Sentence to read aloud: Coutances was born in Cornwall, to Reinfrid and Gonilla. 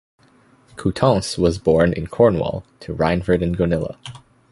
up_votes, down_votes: 2, 0